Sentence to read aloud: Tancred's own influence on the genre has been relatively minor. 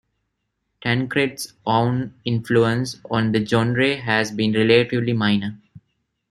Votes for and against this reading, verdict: 2, 1, accepted